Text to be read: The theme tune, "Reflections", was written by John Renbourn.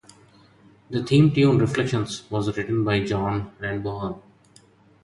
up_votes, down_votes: 0, 2